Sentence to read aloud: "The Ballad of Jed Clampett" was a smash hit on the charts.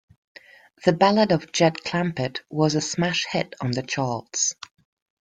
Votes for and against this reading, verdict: 2, 0, accepted